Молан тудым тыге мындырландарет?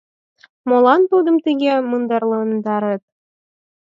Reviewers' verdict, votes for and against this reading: accepted, 4, 2